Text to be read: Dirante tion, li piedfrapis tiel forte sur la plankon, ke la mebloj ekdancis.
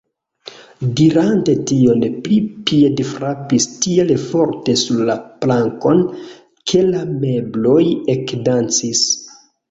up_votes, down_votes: 1, 2